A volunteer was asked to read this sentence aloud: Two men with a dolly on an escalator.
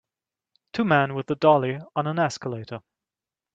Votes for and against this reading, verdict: 2, 0, accepted